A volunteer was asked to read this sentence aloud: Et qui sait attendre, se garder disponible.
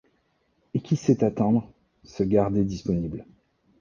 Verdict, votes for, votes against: accepted, 2, 0